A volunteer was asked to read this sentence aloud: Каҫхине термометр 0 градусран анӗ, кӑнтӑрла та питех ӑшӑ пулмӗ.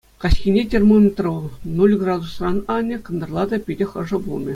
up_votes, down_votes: 0, 2